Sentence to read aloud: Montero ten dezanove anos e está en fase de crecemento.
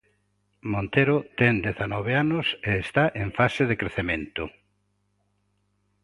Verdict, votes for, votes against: accepted, 3, 0